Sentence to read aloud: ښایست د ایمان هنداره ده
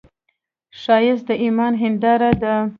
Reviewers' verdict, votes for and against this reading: rejected, 1, 2